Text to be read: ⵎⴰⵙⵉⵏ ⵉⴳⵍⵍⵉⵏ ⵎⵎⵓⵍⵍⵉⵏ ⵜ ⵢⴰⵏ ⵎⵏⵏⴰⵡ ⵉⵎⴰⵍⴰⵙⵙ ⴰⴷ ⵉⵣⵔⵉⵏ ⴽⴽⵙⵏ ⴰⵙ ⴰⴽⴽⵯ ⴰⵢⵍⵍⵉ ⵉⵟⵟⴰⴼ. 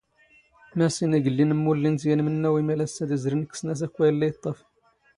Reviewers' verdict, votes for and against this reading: accepted, 2, 0